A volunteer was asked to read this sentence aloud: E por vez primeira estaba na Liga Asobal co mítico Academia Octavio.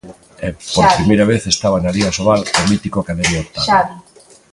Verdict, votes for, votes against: rejected, 0, 2